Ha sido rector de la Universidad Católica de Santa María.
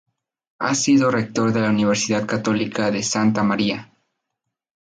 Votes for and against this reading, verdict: 0, 2, rejected